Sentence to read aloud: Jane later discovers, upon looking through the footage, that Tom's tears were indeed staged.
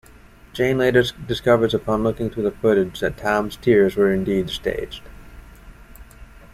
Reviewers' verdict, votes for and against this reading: rejected, 1, 2